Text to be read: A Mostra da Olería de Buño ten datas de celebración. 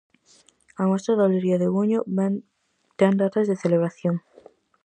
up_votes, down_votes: 0, 4